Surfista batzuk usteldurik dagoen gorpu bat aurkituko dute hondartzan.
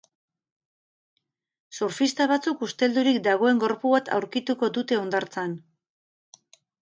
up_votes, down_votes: 6, 0